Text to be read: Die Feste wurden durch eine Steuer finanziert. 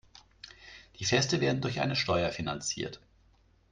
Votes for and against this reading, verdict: 0, 2, rejected